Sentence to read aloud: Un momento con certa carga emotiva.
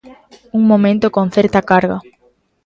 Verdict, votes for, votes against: rejected, 0, 4